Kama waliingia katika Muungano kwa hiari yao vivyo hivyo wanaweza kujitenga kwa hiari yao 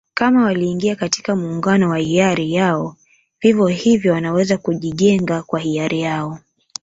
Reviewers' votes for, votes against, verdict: 1, 2, rejected